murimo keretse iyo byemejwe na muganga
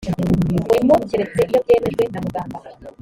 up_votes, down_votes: 1, 2